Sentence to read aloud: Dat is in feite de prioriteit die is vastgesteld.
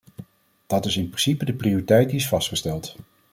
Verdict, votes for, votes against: rejected, 0, 2